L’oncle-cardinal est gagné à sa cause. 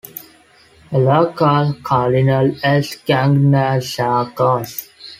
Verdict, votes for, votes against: rejected, 0, 2